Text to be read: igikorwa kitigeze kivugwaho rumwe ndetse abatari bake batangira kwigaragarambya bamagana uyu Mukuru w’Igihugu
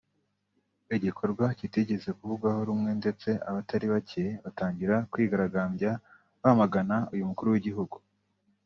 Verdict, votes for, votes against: rejected, 1, 2